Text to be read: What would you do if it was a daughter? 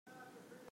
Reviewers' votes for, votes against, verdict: 0, 2, rejected